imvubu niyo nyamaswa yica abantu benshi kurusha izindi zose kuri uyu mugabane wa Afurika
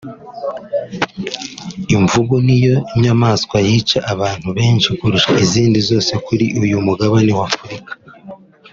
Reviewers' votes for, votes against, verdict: 3, 0, accepted